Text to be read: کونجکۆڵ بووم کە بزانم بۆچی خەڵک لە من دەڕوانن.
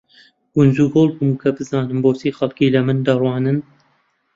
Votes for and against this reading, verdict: 0, 2, rejected